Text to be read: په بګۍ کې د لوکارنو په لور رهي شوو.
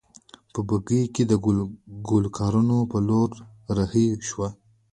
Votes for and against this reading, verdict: 2, 1, accepted